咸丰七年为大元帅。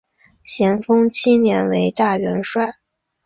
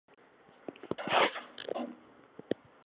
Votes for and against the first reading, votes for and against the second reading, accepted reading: 6, 1, 4, 6, first